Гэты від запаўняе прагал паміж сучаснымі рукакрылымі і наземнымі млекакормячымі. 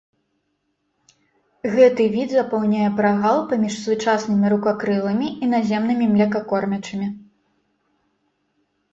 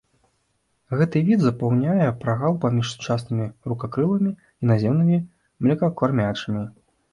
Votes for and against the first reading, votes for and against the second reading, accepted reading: 2, 0, 1, 2, first